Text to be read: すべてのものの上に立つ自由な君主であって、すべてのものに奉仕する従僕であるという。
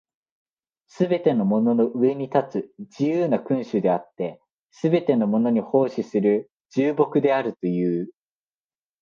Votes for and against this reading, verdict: 2, 1, accepted